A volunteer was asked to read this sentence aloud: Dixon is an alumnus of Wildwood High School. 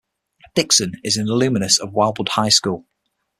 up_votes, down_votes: 6, 3